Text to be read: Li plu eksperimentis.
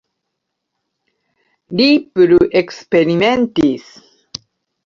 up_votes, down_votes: 0, 3